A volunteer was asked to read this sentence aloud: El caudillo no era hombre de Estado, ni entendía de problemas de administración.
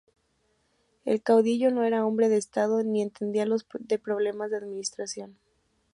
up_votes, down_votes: 1, 2